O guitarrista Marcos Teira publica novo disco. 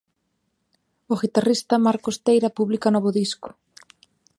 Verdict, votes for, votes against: accepted, 2, 0